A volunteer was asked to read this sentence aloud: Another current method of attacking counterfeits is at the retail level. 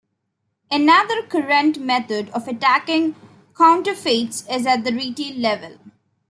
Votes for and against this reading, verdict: 1, 2, rejected